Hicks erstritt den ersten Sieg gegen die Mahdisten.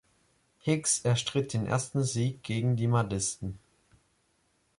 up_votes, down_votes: 2, 0